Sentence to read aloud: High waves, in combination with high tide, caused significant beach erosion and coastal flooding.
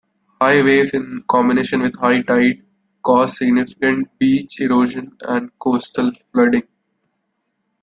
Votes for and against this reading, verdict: 2, 0, accepted